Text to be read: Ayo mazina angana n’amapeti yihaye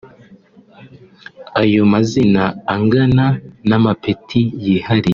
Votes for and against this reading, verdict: 1, 2, rejected